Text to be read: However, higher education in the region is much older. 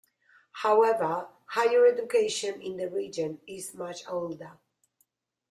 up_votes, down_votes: 2, 0